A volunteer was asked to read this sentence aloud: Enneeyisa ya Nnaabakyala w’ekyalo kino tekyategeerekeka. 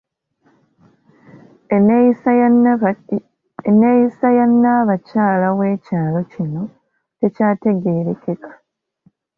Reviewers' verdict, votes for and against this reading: rejected, 1, 2